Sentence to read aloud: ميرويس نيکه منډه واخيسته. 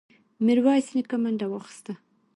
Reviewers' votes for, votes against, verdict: 1, 2, rejected